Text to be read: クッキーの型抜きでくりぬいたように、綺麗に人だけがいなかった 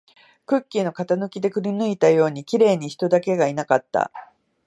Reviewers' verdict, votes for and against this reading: accepted, 3, 1